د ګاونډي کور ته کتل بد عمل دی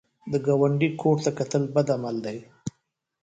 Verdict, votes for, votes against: rejected, 1, 2